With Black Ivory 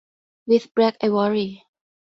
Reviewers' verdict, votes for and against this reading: rejected, 2, 2